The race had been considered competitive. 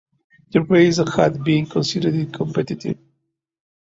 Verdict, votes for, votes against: accepted, 2, 0